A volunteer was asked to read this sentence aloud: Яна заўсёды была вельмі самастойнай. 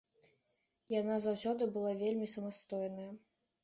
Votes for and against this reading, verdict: 2, 0, accepted